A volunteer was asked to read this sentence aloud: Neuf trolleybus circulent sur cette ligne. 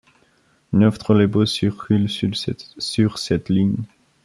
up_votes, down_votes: 0, 2